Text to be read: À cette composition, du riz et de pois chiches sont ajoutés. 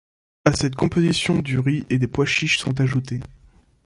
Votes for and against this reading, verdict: 1, 2, rejected